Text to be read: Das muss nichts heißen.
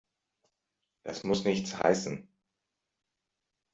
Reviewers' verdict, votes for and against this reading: accepted, 2, 0